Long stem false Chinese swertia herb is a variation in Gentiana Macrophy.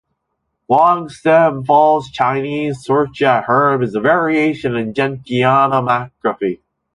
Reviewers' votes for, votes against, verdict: 1, 2, rejected